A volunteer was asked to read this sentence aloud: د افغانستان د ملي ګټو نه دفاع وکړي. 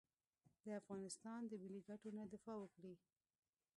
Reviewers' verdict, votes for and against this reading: rejected, 0, 2